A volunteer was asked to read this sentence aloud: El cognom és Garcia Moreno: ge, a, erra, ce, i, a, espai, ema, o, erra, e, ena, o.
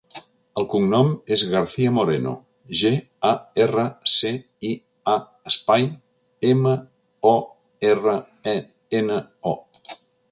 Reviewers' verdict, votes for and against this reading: rejected, 1, 2